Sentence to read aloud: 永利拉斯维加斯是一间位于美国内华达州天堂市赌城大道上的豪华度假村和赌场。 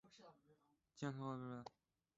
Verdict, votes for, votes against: rejected, 0, 3